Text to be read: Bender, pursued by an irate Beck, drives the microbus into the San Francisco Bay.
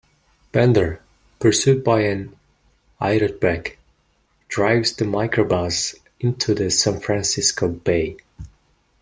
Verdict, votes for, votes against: rejected, 1, 2